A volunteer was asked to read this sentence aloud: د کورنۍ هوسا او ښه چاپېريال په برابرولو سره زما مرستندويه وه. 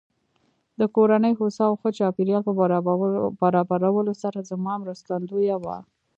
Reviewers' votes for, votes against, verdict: 2, 1, accepted